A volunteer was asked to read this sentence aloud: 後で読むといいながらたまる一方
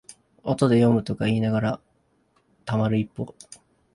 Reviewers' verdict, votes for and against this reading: rejected, 0, 2